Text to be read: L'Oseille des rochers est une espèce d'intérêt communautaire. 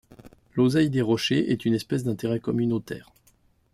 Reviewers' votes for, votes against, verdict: 2, 0, accepted